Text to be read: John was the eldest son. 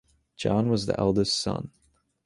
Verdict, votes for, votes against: accepted, 2, 0